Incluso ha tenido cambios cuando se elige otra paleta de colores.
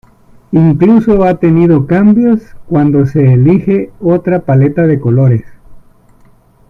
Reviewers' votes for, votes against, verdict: 2, 1, accepted